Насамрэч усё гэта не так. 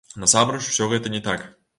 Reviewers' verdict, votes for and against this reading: accepted, 2, 0